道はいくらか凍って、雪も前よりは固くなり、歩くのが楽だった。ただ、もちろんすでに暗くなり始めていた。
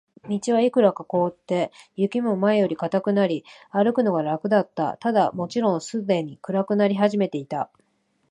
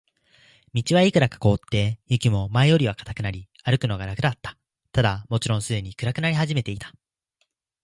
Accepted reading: second